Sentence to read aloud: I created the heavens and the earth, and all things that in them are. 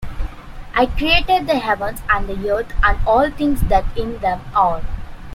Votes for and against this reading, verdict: 2, 0, accepted